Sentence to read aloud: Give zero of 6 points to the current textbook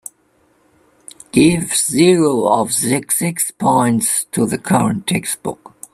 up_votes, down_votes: 0, 2